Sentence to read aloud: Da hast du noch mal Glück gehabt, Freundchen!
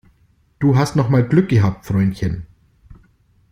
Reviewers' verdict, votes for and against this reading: rejected, 1, 2